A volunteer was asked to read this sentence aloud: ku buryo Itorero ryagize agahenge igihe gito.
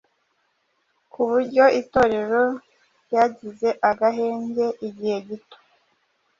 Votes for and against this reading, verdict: 2, 0, accepted